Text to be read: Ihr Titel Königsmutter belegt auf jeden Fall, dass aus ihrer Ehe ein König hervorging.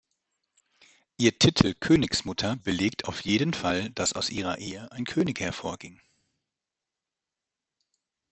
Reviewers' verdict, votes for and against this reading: accepted, 2, 0